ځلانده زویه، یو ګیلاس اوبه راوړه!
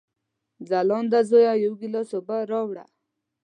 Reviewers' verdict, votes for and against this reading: accepted, 2, 0